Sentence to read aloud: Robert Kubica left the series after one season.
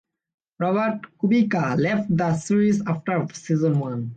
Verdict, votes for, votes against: rejected, 1, 2